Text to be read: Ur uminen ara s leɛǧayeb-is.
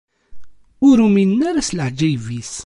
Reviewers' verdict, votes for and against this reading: accepted, 2, 0